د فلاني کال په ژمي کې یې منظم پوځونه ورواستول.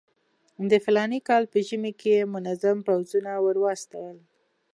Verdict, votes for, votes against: accepted, 2, 0